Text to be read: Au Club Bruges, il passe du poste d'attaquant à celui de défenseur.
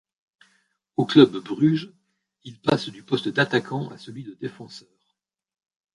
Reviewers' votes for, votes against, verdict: 1, 2, rejected